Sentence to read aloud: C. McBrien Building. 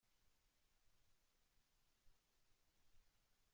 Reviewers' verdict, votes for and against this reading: rejected, 0, 2